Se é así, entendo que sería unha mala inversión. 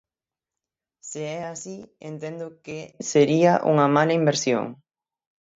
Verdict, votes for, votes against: rejected, 0, 6